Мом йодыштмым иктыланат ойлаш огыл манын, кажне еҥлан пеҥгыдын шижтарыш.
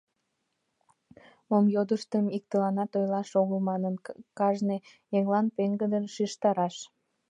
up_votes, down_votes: 0, 2